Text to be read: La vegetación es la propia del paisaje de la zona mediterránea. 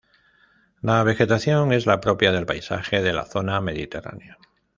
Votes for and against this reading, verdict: 2, 0, accepted